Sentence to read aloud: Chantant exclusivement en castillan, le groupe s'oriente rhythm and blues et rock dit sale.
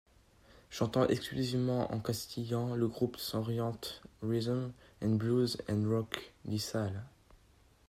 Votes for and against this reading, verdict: 0, 2, rejected